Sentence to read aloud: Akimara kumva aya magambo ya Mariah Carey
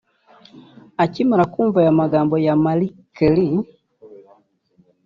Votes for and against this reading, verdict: 3, 0, accepted